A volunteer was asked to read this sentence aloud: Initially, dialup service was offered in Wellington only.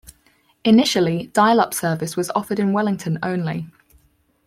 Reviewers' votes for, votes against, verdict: 4, 0, accepted